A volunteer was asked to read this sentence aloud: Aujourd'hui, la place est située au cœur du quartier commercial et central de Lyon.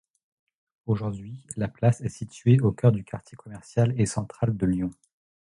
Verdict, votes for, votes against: accepted, 2, 0